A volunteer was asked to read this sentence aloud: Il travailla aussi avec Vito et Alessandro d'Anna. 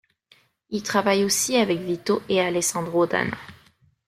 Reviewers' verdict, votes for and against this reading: accepted, 3, 1